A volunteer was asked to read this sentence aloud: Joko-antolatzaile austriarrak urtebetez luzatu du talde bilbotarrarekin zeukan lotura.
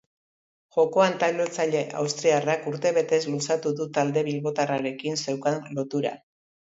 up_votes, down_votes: 2, 2